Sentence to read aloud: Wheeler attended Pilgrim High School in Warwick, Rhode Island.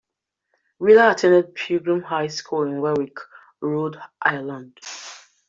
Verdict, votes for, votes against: rejected, 0, 2